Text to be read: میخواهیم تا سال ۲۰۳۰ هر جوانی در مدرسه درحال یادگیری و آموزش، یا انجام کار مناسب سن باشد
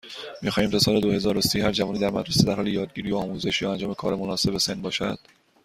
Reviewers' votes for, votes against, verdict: 0, 2, rejected